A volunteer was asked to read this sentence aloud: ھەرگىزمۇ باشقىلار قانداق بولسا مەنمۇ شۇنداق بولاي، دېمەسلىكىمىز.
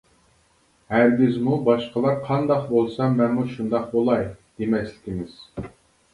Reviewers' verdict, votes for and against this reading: accepted, 2, 0